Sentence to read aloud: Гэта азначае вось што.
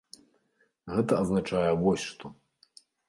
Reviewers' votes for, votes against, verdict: 2, 0, accepted